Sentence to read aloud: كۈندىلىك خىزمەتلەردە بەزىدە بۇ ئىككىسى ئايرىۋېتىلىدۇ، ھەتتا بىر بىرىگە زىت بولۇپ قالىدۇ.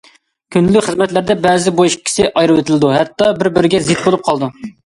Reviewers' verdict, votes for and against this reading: accepted, 2, 0